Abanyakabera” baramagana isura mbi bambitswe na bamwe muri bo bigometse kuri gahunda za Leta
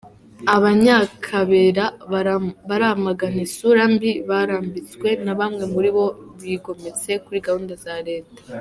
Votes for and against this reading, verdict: 0, 2, rejected